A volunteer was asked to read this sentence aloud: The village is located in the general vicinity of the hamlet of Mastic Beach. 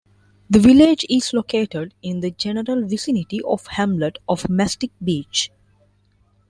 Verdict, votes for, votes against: rejected, 0, 2